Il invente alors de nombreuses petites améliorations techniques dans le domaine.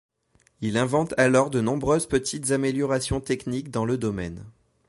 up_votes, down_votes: 2, 0